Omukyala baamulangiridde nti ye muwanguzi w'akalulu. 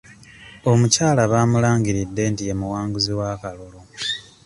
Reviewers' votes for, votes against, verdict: 2, 0, accepted